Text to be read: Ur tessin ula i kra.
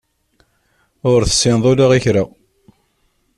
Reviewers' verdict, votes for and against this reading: rejected, 0, 2